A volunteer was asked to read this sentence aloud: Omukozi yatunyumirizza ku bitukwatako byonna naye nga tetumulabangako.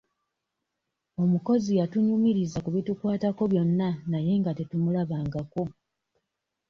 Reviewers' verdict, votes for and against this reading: accepted, 2, 0